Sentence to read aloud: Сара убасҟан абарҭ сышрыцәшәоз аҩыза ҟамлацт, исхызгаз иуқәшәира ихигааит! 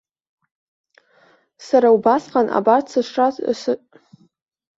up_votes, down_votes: 0, 2